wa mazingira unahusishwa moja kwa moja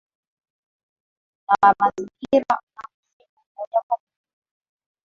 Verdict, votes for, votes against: rejected, 0, 4